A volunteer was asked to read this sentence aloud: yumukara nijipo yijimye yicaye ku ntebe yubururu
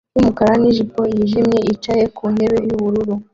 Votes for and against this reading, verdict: 1, 2, rejected